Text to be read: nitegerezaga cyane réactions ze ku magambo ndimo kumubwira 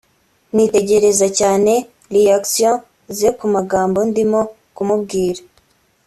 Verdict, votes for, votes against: accepted, 2, 0